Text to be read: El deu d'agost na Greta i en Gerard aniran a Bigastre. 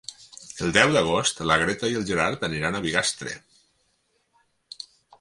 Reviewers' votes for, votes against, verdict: 6, 0, accepted